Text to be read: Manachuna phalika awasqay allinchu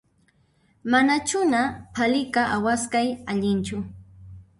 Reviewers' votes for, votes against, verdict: 1, 2, rejected